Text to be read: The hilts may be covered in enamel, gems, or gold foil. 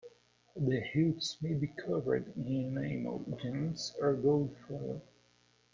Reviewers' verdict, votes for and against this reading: rejected, 0, 2